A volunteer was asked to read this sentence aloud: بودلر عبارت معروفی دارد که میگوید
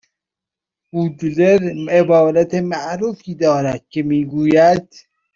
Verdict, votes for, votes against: accepted, 2, 0